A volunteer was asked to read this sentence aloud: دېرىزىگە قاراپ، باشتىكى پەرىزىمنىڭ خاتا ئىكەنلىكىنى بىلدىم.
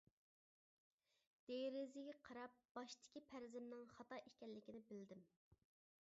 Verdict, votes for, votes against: accepted, 2, 0